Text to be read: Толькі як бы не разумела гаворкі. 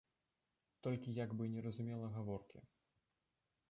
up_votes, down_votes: 3, 0